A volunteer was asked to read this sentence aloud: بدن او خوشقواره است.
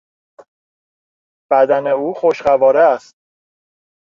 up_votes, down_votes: 2, 0